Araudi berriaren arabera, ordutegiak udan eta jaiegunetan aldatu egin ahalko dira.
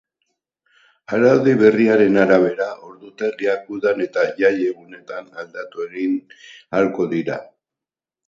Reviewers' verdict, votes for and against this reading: rejected, 2, 2